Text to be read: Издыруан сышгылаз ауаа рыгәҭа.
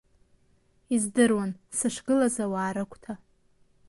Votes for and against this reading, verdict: 2, 0, accepted